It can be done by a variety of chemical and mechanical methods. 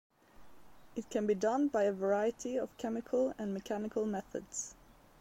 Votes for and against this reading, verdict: 2, 0, accepted